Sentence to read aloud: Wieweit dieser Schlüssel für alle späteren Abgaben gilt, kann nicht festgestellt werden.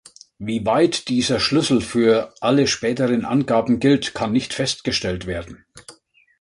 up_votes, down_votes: 1, 2